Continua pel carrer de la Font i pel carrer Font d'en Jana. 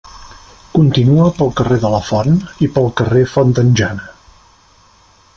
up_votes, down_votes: 2, 0